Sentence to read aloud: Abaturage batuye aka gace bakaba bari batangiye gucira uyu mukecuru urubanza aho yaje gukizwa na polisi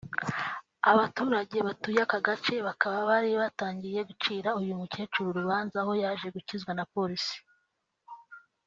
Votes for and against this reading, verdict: 2, 0, accepted